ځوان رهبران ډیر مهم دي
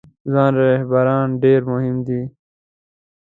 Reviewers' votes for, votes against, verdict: 2, 0, accepted